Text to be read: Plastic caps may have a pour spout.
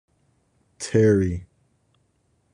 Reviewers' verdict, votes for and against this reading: rejected, 0, 2